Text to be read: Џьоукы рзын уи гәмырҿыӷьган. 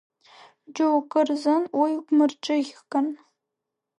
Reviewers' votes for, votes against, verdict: 0, 2, rejected